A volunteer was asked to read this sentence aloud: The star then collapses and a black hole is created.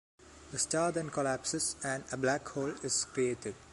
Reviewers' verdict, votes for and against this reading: accepted, 2, 0